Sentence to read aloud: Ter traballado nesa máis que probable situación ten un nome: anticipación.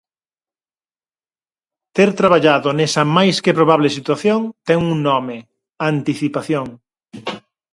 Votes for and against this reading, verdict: 4, 0, accepted